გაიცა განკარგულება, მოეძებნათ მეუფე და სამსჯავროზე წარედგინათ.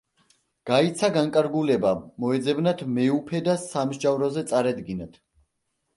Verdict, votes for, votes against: accepted, 2, 0